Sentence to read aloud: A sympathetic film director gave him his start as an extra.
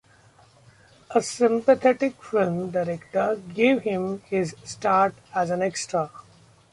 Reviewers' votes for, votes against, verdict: 2, 0, accepted